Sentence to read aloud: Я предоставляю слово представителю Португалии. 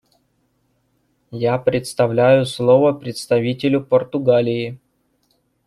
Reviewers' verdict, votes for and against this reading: rejected, 1, 2